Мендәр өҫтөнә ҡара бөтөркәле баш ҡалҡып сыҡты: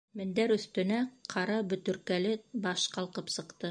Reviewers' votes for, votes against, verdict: 1, 2, rejected